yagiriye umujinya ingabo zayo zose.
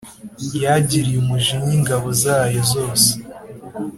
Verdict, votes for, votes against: accepted, 2, 0